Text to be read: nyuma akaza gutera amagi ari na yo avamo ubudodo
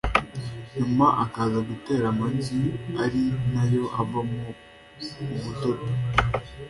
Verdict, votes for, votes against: accepted, 2, 0